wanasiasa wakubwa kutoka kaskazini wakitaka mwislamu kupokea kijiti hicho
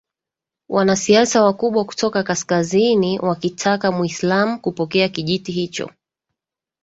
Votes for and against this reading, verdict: 2, 1, accepted